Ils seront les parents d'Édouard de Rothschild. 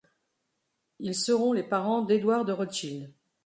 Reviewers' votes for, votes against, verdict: 2, 0, accepted